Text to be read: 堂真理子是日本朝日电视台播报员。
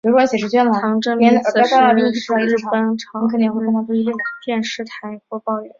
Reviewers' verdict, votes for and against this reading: rejected, 1, 3